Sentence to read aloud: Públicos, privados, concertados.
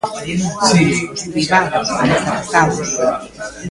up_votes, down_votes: 0, 2